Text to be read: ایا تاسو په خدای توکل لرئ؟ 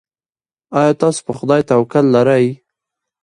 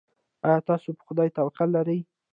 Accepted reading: first